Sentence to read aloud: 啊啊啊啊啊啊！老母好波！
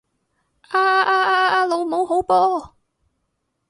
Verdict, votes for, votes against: accepted, 2, 0